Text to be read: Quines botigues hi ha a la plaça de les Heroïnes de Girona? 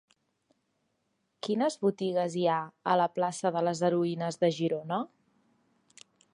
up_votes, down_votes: 3, 1